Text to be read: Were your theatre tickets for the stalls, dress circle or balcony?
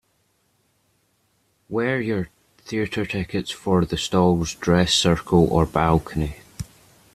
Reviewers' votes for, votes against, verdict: 2, 1, accepted